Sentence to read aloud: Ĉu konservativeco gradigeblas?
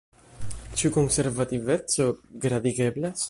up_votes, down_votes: 1, 2